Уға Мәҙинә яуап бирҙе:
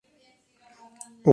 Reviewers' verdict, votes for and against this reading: rejected, 1, 2